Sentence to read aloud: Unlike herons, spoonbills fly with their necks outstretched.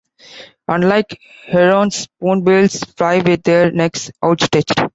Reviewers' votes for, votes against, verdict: 2, 1, accepted